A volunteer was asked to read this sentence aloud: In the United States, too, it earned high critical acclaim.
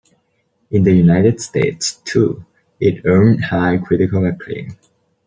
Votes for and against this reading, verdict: 2, 0, accepted